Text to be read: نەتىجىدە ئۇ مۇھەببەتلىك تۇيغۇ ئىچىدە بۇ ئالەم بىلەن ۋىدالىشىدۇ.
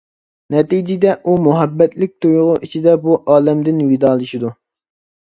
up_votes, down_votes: 0, 2